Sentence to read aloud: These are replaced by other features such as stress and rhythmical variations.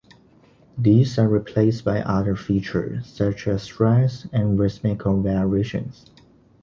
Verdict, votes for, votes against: accepted, 2, 1